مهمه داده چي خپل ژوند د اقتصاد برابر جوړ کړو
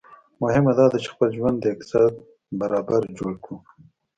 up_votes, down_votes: 2, 0